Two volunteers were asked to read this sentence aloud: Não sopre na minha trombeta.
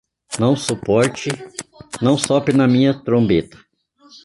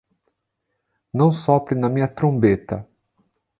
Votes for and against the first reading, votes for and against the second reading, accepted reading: 0, 2, 2, 0, second